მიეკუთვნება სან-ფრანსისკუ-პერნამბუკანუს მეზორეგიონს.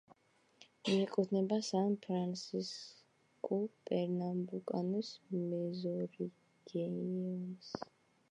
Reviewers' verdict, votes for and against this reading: rejected, 1, 2